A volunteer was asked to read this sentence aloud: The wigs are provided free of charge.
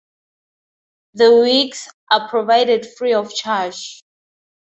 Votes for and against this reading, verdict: 4, 0, accepted